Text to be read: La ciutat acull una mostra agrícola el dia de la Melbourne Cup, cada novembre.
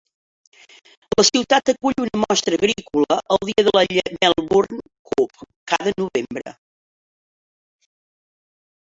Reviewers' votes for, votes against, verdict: 0, 2, rejected